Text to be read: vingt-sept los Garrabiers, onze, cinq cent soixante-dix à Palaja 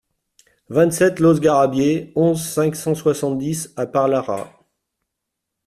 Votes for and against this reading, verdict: 1, 2, rejected